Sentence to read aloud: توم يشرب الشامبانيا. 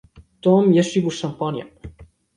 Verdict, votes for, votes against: rejected, 1, 2